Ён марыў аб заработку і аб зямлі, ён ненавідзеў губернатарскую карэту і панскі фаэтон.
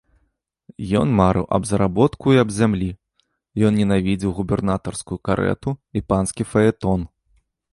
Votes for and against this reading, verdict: 2, 0, accepted